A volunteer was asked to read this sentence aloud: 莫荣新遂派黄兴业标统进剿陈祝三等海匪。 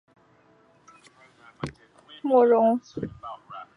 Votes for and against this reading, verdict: 0, 2, rejected